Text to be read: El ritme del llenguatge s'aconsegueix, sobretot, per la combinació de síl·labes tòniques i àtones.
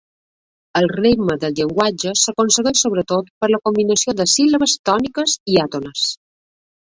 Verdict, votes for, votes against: accepted, 2, 0